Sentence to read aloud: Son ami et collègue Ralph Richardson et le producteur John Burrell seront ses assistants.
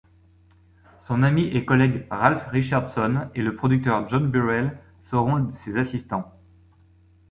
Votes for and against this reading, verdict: 0, 2, rejected